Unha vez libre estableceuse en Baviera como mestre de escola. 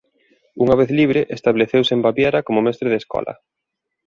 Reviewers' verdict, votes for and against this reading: accepted, 2, 0